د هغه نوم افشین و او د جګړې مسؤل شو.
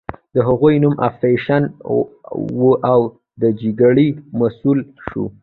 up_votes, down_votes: 1, 2